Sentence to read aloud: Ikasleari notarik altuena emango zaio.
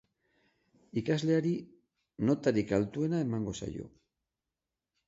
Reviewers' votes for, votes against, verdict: 3, 0, accepted